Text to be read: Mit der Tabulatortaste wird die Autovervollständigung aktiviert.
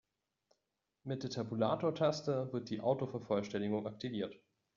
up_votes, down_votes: 1, 2